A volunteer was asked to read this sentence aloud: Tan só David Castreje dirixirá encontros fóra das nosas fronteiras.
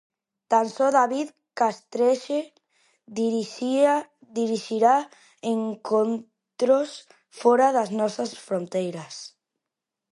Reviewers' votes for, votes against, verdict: 0, 2, rejected